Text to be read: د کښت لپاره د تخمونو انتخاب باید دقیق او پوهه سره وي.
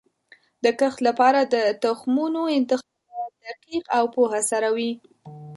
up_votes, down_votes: 1, 2